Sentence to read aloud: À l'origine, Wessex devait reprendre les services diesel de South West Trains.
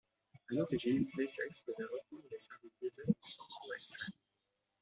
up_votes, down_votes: 0, 2